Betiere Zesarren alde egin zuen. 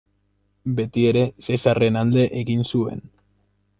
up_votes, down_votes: 2, 1